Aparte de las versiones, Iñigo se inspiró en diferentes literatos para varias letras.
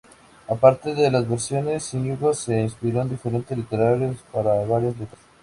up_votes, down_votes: 0, 2